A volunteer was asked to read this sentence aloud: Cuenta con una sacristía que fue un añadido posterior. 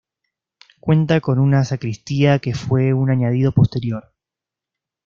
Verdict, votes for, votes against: accepted, 2, 0